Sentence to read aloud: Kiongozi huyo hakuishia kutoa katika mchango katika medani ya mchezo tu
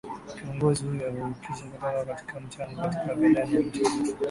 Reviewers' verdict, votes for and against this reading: rejected, 1, 2